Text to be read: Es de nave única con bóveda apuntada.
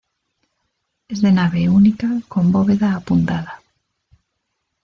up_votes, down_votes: 2, 1